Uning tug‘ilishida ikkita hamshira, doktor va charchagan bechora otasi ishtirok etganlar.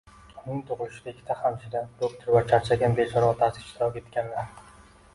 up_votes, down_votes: 1, 2